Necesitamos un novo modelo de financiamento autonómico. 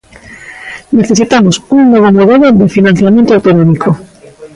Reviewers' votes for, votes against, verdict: 0, 2, rejected